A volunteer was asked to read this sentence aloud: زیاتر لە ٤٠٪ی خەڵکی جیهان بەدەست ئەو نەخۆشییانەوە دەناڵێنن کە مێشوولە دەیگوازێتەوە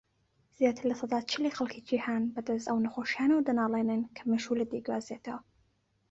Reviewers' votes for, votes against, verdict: 0, 2, rejected